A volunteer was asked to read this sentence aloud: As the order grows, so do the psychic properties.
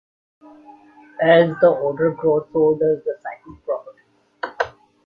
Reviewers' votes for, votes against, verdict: 0, 2, rejected